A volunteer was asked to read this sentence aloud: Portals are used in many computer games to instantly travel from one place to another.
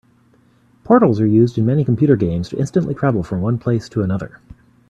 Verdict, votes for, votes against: accepted, 2, 0